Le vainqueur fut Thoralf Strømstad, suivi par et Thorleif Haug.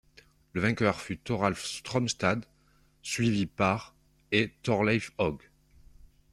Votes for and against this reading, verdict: 2, 0, accepted